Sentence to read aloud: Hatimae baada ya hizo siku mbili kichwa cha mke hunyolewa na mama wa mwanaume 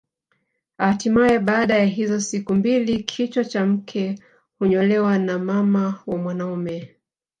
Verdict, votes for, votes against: rejected, 0, 2